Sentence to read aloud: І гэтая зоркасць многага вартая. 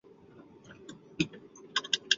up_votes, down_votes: 0, 2